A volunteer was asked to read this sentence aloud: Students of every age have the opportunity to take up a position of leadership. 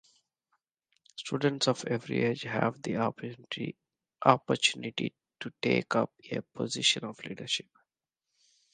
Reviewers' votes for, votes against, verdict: 1, 2, rejected